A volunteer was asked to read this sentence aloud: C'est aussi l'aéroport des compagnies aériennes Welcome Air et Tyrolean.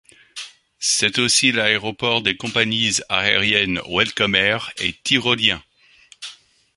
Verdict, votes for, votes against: rejected, 0, 2